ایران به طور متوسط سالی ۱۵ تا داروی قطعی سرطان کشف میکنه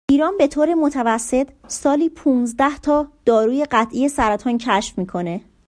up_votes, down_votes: 0, 2